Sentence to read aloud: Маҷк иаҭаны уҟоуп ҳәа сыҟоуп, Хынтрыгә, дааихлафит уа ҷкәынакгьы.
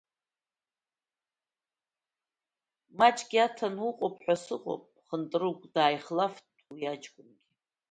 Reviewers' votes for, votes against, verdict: 1, 2, rejected